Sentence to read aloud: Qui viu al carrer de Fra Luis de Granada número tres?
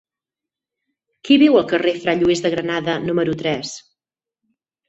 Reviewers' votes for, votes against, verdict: 2, 4, rejected